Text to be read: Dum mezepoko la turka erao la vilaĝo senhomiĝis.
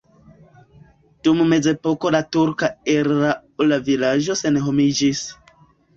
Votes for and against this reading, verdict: 1, 2, rejected